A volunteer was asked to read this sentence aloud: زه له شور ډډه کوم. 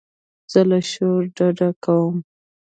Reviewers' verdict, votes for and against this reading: rejected, 1, 2